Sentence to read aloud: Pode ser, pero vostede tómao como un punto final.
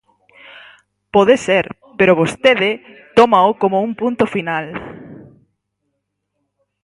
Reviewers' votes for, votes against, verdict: 4, 2, accepted